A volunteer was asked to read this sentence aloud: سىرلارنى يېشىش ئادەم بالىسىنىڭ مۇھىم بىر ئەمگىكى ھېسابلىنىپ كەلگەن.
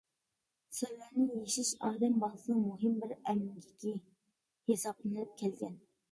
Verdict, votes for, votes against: rejected, 1, 3